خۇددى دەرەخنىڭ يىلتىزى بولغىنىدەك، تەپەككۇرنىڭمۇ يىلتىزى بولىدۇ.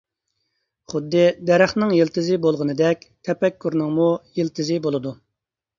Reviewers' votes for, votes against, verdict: 2, 0, accepted